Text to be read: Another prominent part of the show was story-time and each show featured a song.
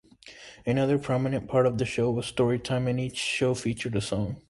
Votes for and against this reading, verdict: 2, 0, accepted